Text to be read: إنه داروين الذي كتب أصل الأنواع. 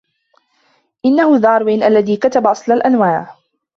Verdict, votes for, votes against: accepted, 2, 0